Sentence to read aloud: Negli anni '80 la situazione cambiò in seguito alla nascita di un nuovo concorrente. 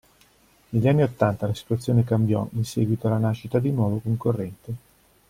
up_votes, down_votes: 0, 2